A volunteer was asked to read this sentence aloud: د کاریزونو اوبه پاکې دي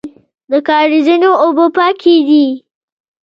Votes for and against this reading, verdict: 1, 2, rejected